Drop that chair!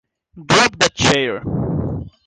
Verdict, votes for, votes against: accepted, 2, 1